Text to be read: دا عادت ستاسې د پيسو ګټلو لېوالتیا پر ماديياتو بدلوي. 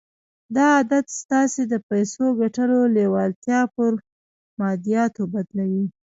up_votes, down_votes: 2, 1